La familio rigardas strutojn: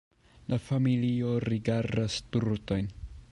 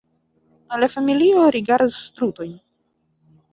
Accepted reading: first